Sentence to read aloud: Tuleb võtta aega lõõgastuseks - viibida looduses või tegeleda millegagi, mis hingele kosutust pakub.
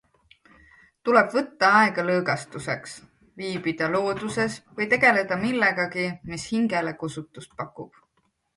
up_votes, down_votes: 2, 0